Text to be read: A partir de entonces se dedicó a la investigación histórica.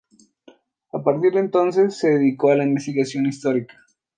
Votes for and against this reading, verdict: 2, 0, accepted